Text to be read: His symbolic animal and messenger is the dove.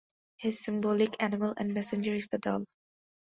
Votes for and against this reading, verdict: 2, 0, accepted